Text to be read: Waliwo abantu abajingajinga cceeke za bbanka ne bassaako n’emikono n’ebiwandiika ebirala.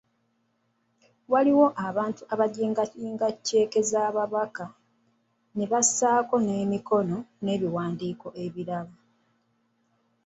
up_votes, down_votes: 0, 2